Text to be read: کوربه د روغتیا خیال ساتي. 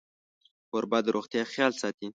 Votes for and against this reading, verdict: 2, 0, accepted